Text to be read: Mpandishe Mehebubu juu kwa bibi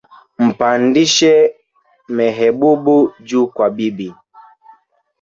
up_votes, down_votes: 2, 0